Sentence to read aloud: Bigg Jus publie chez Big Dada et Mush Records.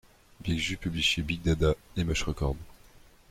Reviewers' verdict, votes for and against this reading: rejected, 1, 2